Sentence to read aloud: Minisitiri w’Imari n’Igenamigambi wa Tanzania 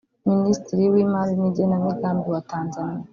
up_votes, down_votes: 1, 2